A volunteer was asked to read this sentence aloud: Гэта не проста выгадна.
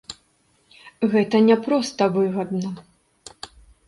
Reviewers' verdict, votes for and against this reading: accepted, 2, 0